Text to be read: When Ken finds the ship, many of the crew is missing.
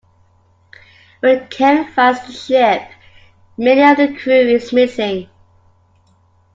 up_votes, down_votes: 2, 0